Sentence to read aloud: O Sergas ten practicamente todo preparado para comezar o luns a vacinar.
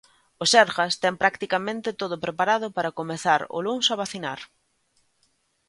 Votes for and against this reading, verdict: 2, 0, accepted